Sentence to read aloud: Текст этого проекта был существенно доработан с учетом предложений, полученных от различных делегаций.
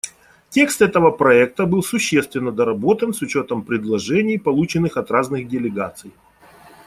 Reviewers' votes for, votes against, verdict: 0, 2, rejected